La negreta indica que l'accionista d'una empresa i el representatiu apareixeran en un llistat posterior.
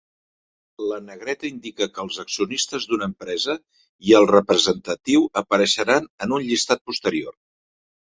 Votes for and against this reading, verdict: 1, 3, rejected